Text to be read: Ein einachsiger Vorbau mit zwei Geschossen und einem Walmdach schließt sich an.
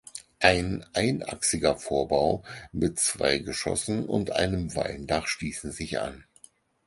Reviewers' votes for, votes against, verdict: 0, 4, rejected